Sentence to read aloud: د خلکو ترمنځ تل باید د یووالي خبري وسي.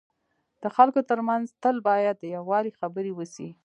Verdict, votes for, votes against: accepted, 2, 0